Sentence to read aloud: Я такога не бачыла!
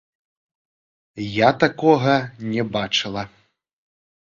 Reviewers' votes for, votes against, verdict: 0, 3, rejected